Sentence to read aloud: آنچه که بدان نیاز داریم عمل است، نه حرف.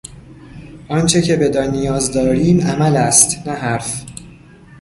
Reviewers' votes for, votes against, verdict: 2, 0, accepted